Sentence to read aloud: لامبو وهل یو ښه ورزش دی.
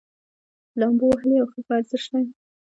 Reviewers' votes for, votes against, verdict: 0, 2, rejected